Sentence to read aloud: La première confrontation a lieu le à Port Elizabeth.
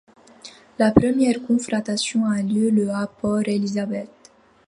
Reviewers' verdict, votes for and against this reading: rejected, 1, 2